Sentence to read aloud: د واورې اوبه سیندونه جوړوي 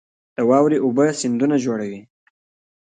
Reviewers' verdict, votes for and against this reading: accepted, 2, 1